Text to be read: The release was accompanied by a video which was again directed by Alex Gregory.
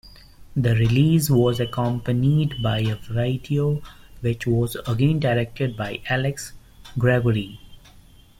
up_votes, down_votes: 2, 0